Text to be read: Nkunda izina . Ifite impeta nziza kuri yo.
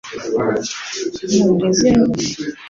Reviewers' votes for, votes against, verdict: 1, 2, rejected